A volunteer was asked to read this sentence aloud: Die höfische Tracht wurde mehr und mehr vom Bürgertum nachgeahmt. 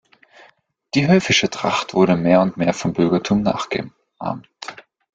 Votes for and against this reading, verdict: 0, 2, rejected